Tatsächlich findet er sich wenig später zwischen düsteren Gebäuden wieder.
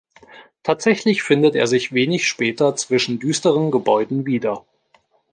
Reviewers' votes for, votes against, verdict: 2, 0, accepted